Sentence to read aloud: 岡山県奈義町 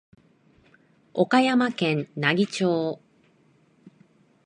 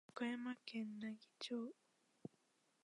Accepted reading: first